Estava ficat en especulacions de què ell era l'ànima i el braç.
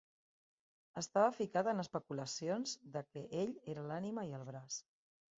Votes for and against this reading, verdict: 1, 2, rejected